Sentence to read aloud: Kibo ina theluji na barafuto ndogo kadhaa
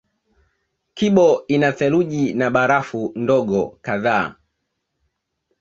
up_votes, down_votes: 0, 2